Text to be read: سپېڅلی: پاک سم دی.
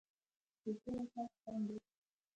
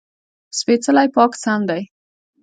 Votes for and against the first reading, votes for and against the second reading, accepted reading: 2, 1, 0, 2, first